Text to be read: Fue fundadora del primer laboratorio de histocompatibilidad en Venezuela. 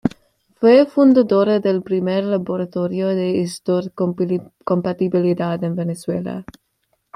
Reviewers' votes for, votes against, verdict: 0, 2, rejected